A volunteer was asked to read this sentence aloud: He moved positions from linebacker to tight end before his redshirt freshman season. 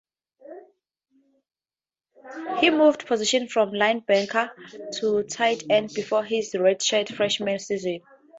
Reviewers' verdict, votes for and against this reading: rejected, 0, 4